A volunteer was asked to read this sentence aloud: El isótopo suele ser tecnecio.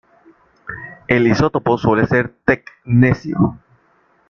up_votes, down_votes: 1, 2